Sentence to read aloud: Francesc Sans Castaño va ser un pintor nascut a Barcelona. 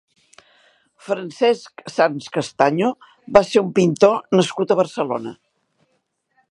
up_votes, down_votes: 3, 0